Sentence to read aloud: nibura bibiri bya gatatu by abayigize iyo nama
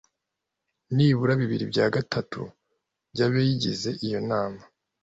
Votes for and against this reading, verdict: 0, 2, rejected